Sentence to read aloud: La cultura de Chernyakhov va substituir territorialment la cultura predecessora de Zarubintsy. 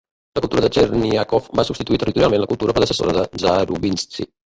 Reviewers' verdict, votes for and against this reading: rejected, 0, 4